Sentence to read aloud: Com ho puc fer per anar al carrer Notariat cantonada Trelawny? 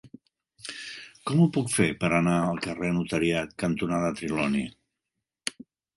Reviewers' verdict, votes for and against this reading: rejected, 1, 2